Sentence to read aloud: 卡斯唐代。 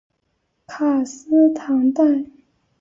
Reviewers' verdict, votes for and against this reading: accepted, 2, 0